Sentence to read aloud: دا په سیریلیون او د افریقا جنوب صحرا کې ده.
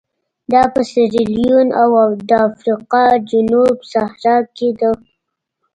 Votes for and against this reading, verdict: 2, 1, accepted